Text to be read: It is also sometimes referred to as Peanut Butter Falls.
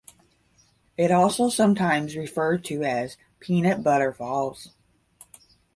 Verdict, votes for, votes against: rejected, 0, 5